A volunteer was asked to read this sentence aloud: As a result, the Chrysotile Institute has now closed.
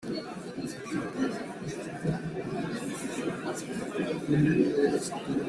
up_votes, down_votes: 0, 2